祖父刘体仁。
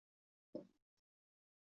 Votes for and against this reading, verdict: 0, 3, rejected